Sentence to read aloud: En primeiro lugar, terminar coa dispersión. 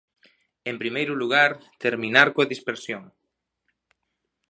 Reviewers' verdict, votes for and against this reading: accepted, 2, 0